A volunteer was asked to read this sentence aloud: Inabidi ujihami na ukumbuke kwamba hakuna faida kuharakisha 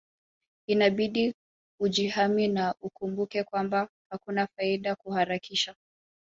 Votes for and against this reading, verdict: 2, 0, accepted